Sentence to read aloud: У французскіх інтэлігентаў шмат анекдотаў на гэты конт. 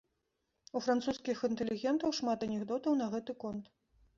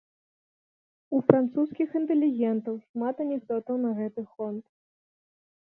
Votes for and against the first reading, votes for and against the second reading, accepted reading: 2, 0, 0, 2, first